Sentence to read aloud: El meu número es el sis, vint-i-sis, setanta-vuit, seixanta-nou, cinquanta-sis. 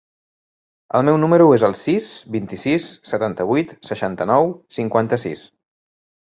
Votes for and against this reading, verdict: 3, 0, accepted